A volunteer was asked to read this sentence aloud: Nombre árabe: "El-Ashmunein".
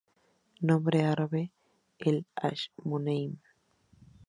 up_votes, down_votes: 2, 0